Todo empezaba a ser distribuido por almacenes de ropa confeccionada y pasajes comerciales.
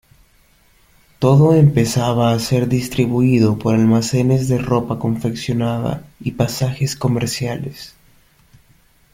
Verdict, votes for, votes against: accepted, 2, 0